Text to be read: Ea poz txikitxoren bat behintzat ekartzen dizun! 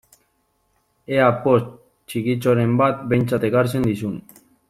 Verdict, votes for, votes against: rejected, 1, 2